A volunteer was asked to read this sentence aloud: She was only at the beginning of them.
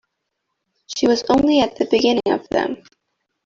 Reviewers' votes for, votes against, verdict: 0, 2, rejected